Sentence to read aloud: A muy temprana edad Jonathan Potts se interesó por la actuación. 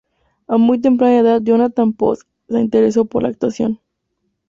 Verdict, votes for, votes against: accepted, 2, 0